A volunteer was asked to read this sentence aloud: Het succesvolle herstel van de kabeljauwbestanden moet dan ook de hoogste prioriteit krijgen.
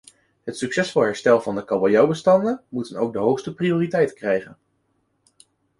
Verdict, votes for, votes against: accepted, 2, 0